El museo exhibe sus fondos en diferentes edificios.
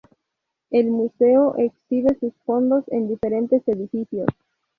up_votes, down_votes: 0, 2